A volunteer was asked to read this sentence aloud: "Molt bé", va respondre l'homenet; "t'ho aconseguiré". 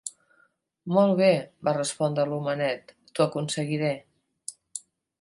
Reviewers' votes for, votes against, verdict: 2, 0, accepted